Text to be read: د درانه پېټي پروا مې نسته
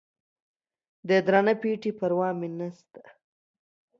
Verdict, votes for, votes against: accepted, 2, 0